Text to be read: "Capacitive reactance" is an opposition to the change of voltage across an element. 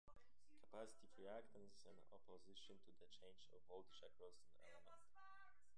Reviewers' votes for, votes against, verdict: 0, 2, rejected